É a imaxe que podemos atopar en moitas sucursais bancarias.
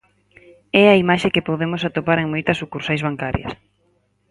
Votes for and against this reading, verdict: 4, 0, accepted